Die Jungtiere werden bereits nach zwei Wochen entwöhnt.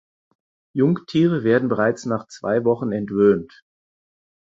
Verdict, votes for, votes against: rejected, 2, 4